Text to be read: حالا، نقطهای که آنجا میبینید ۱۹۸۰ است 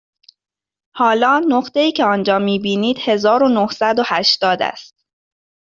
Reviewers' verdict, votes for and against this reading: rejected, 0, 2